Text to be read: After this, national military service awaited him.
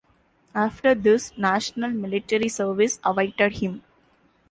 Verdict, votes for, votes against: accepted, 2, 0